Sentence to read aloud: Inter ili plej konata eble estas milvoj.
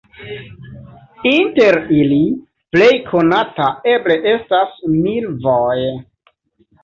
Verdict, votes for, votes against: accepted, 2, 0